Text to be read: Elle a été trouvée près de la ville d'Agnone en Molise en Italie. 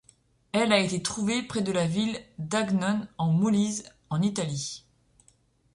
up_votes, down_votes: 1, 2